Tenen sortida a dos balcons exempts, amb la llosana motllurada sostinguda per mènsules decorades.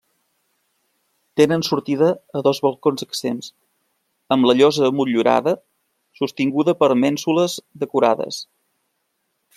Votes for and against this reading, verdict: 0, 2, rejected